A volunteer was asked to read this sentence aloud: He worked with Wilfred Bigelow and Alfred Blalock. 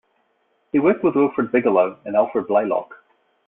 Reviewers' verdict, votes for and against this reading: accepted, 2, 1